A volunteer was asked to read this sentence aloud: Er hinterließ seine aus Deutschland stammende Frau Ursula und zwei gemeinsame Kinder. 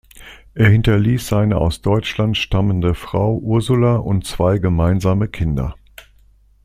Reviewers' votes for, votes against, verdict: 2, 0, accepted